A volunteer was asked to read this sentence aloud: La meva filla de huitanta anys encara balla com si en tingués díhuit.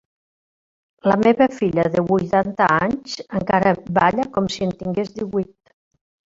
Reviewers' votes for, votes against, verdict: 1, 2, rejected